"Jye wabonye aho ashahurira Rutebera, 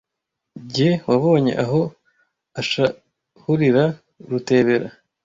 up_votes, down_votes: 0, 2